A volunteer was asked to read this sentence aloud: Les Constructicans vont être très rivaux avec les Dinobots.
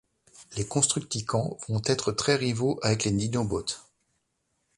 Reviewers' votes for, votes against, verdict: 1, 2, rejected